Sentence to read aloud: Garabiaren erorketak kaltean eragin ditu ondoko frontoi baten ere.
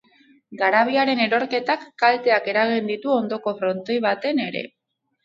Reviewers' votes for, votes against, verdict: 2, 2, rejected